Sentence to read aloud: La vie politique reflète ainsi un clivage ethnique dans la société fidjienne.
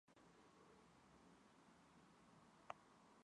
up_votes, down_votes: 1, 2